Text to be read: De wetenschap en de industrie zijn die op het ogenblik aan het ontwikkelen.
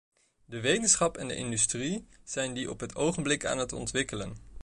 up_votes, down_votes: 2, 0